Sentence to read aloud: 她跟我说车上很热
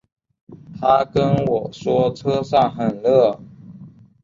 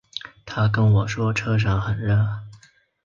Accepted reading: first